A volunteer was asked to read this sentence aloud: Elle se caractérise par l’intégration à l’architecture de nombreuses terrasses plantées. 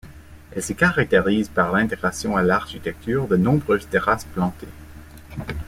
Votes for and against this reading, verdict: 1, 2, rejected